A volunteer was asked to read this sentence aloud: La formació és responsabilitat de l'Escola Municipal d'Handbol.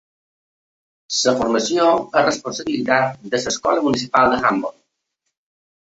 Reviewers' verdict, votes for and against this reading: rejected, 1, 2